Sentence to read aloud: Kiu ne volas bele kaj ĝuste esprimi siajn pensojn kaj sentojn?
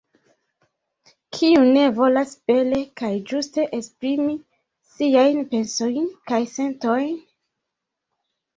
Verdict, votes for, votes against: rejected, 0, 2